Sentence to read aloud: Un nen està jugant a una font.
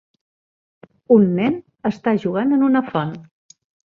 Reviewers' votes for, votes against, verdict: 2, 1, accepted